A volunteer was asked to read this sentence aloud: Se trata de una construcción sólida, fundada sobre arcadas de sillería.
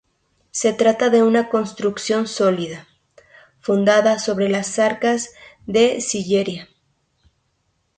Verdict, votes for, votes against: rejected, 0, 2